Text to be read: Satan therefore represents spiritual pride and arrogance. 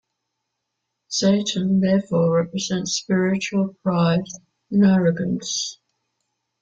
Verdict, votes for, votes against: accepted, 2, 1